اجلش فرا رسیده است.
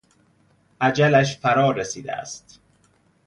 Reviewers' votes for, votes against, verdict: 2, 0, accepted